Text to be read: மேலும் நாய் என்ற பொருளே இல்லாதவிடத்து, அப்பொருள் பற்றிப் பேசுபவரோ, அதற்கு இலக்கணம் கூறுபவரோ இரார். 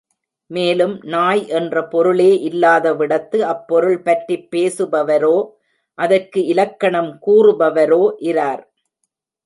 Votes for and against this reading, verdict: 2, 0, accepted